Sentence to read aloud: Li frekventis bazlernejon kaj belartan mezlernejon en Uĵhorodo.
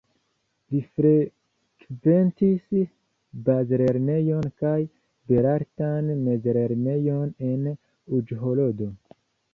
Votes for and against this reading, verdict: 1, 2, rejected